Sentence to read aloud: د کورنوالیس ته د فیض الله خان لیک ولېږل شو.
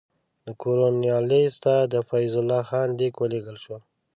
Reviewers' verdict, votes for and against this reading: accepted, 2, 0